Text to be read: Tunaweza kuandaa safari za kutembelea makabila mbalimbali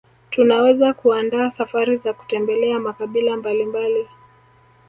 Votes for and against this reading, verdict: 2, 1, accepted